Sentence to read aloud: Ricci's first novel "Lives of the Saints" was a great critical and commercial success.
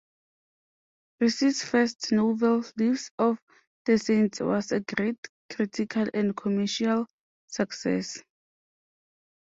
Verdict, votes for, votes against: rejected, 1, 2